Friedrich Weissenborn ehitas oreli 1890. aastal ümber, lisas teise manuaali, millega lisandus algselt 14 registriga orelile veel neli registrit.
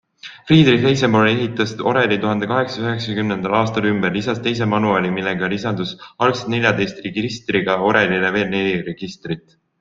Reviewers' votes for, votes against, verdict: 0, 2, rejected